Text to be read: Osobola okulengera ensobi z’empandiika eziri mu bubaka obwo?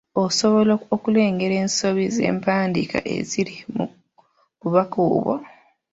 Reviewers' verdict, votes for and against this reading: accepted, 2, 1